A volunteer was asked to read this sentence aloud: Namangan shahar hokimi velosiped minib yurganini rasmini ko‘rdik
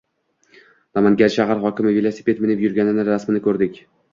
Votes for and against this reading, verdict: 2, 0, accepted